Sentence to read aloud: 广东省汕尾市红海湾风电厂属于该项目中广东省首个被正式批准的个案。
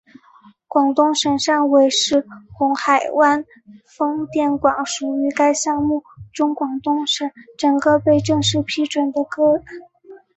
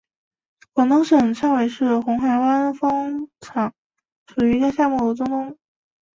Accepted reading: first